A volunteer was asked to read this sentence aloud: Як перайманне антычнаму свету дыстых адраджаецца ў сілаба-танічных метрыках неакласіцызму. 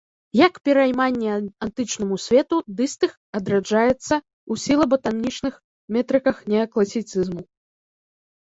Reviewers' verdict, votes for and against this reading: rejected, 0, 2